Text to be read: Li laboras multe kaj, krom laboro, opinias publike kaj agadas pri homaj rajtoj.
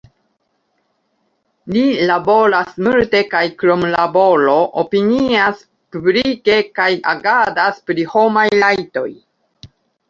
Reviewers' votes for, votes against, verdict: 0, 2, rejected